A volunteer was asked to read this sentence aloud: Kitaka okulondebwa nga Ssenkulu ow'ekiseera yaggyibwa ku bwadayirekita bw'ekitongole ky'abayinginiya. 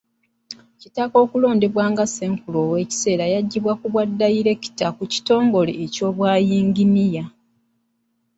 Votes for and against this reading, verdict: 1, 2, rejected